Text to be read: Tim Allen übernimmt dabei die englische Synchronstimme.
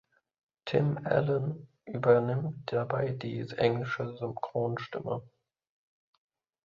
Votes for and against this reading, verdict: 1, 2, rejected